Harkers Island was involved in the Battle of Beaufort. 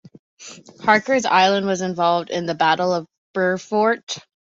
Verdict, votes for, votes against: accepted, 2, 0